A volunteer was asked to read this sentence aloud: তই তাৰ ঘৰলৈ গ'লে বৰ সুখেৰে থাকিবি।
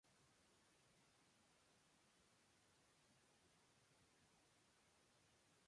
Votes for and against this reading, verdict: 1, 3, rejected